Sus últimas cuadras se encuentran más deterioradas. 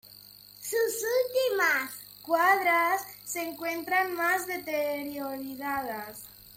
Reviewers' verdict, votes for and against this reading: rejected, 0, 2